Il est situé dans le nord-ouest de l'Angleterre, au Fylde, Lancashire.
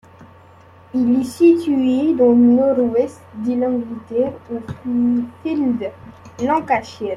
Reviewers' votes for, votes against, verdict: 0, 2, rejected